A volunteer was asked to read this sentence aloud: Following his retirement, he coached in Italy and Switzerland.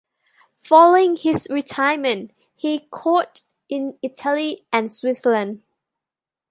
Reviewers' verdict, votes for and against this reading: accepted, 2, 1